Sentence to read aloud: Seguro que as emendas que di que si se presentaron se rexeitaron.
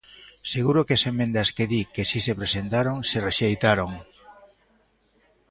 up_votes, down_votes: 1, 2